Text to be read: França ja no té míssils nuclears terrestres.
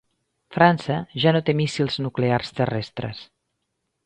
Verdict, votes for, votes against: accepted, 3, 0